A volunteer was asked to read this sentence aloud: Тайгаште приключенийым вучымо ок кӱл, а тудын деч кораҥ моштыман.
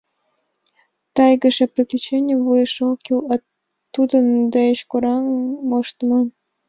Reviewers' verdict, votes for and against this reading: rejected, 0, 2